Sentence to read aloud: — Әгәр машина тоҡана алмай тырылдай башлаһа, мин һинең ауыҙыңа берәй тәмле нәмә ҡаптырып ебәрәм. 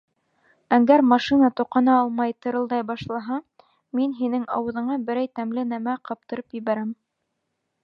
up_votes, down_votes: 1, 2